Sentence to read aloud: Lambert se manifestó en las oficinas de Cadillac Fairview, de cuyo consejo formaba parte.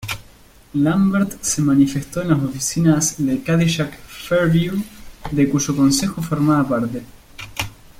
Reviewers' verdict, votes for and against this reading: rejected, 1, 2